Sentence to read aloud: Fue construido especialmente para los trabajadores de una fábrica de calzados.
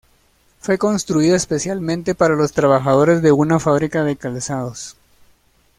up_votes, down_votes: 1, 2